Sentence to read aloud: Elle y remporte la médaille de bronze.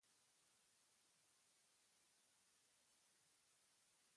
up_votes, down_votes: 0, 2